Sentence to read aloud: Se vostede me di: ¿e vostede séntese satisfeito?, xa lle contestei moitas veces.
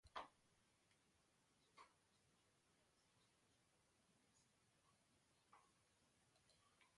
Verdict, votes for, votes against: rejected, 0, 2